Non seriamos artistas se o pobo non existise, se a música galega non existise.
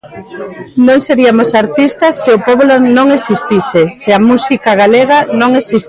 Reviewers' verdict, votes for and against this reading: rejected, 0, 2